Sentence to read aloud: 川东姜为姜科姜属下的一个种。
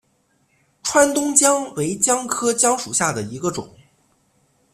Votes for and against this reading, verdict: 2, 0, accepted